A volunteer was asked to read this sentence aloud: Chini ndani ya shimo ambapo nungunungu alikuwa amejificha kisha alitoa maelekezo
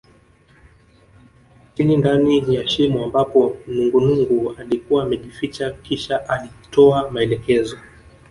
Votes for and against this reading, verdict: 1, 2, rejected